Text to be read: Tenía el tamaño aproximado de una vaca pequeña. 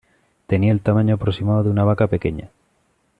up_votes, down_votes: 2, 0